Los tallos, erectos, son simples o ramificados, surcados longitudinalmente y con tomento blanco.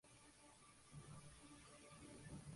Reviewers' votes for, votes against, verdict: 0, 4, rejected